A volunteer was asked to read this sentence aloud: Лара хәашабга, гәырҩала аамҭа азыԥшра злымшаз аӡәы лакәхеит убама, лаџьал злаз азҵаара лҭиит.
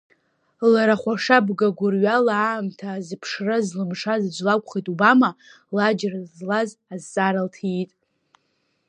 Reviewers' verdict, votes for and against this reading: rejected, 0, 2